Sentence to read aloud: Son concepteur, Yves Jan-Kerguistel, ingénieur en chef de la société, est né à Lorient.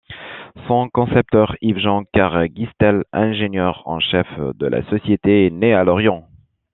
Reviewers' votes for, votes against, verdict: 2, 0, accepted